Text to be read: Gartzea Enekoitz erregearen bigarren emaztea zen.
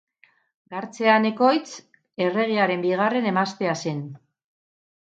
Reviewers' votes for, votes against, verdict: 8, 2, accepted